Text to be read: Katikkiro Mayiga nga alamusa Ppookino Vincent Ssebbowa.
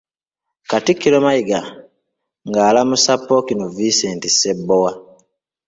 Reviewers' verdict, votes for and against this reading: rejected, 1, 2